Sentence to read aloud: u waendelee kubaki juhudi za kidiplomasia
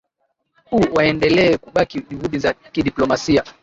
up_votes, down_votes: 2, 1